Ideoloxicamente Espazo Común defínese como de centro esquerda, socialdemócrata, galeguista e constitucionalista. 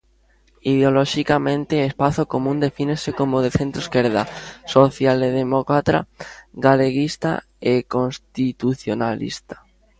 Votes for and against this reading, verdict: 0, 2, rejected